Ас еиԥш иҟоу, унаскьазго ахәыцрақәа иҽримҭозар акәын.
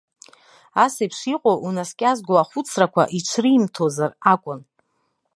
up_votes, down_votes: 2, 0